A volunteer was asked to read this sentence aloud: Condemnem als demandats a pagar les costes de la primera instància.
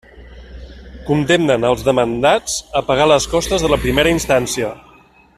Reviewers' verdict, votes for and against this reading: accepted, 2, 0